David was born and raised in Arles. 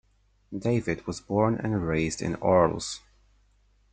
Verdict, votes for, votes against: accepted, 2, 0